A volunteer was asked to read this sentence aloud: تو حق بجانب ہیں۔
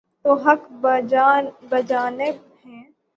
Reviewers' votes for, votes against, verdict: 0, 3, rejected